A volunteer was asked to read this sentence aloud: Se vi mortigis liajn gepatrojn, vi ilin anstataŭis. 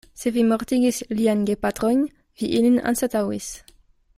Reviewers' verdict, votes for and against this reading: rejected, 1, 2